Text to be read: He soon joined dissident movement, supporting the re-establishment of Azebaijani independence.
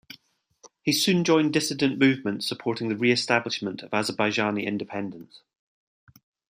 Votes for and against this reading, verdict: 2, 0, accepted